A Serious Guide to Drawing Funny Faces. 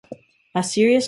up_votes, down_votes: 1, 2